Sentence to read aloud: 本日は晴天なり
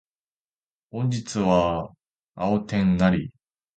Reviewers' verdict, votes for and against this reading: rejected, 1, 2